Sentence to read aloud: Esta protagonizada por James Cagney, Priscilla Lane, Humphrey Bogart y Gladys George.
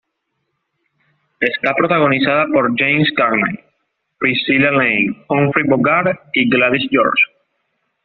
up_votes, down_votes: 2, 0